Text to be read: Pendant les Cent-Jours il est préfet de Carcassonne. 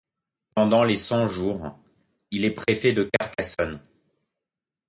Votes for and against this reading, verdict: 2, 1, accepted